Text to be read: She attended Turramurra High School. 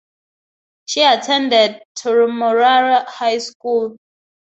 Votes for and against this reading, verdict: 4, 2, accepted